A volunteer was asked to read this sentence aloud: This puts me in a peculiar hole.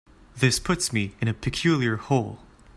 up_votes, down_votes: 2, 0